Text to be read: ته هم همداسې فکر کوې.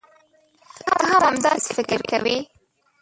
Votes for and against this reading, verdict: 0, 2, rejected